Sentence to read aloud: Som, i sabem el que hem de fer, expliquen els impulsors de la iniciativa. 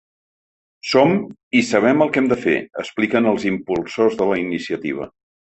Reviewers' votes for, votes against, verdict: 3, 0, accepted